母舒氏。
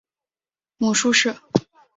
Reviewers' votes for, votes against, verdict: 2, 0, accepted